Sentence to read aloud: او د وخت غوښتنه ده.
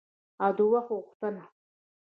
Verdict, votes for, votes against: rejected, 0, 2